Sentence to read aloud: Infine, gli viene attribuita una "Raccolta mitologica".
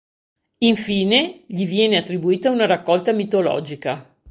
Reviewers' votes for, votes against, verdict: 2, 0, accepted